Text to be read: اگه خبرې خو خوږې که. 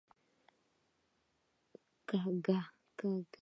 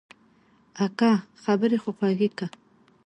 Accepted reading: second